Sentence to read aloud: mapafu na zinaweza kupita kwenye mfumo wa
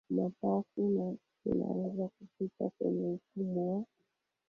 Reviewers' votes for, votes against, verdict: 1, 2, rejected